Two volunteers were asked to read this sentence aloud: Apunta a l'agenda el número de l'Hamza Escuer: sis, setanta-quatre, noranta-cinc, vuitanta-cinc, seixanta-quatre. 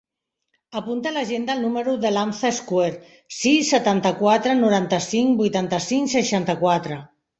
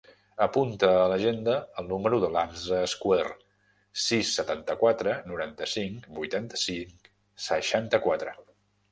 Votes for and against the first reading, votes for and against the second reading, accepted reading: 2, 0, 1, 2, first